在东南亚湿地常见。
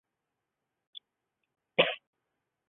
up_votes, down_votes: 0, 2